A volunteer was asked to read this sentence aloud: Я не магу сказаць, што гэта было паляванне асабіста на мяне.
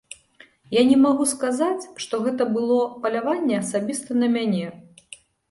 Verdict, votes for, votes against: accepted, 2, 0